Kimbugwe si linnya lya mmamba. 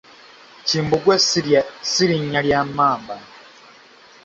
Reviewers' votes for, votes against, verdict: 1, 2, rejected